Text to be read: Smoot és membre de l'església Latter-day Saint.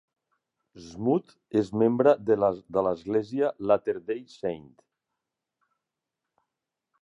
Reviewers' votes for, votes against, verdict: 1, 2, rejected